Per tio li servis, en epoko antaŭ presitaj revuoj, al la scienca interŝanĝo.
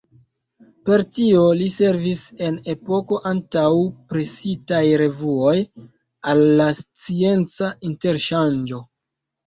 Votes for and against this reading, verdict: 1, 2, rejected